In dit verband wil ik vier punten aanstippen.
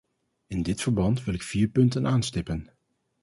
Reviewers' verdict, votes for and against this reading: accepted, 2, 0